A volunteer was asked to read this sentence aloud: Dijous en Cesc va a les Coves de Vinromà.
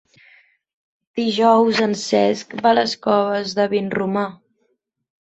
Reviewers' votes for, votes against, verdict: 4, 0, accepted